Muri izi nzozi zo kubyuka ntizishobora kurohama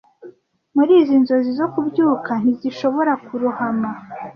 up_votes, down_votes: 2, 0